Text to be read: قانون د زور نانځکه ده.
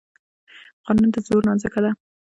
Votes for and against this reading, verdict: 0, 2, rejected